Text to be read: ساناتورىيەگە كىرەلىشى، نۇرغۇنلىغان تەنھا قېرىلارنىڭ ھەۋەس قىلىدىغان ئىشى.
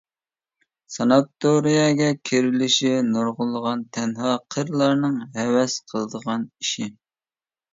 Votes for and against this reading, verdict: 1, 2, rejected